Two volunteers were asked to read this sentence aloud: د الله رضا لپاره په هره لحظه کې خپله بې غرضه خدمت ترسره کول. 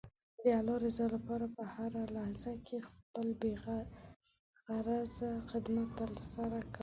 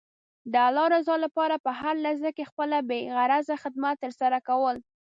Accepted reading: second